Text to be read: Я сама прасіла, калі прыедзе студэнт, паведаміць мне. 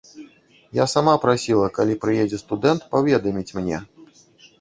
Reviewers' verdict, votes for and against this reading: rejected, 1, 2